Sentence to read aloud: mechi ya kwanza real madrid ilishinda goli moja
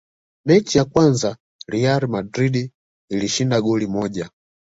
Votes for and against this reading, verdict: 1, 2, rejected